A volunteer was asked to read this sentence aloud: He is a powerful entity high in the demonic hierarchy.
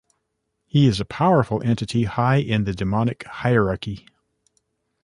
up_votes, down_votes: 2, 0